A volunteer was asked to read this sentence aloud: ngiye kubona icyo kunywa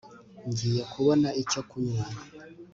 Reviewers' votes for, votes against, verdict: 3, 0, accepted